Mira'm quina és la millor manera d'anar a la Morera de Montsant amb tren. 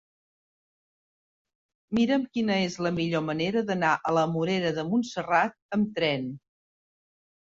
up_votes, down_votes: 0, 2